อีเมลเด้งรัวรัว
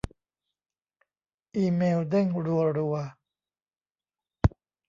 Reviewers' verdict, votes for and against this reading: rejected, 1, 2